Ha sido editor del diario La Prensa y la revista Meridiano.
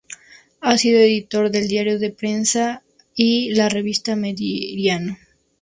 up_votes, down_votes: 2, 0